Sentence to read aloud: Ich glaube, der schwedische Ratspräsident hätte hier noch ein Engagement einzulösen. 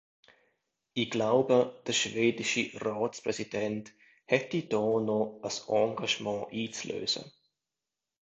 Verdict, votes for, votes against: rejected, 0, 2